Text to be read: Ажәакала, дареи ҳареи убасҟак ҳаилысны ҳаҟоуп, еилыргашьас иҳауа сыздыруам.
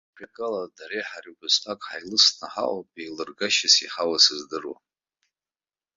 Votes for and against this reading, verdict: 0, 2, rejected